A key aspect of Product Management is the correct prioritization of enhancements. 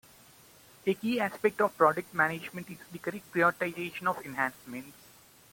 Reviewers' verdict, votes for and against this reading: accepted, 2, 0